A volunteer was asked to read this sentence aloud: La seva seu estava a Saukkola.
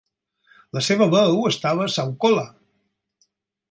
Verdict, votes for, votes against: rejected, 0, 4